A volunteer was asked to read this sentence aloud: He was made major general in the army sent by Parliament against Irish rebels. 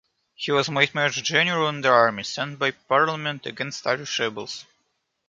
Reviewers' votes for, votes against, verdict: 2, 0, accepted